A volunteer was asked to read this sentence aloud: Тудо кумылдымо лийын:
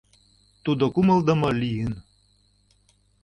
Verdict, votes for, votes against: accepted, 2, 0